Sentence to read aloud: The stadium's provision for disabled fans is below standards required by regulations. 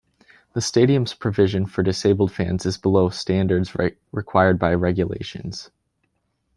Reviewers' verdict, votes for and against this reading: rejected, 1, 2